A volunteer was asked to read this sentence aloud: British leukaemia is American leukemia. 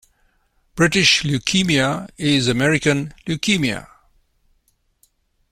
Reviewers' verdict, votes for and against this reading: accepted, 2, 0